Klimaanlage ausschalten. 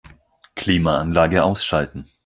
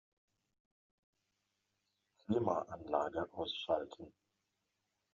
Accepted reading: first